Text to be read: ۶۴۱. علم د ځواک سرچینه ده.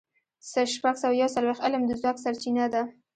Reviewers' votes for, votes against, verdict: 0, 2, rejected